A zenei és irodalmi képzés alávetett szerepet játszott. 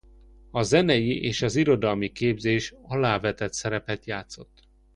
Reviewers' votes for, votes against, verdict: 1, 2, rejected